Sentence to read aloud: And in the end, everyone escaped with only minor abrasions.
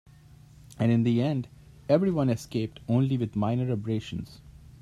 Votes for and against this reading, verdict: 0, 2, rejected